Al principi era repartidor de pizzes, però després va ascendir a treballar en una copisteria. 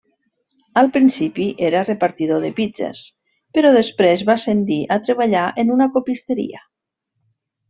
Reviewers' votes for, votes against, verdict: 2, 0, accepted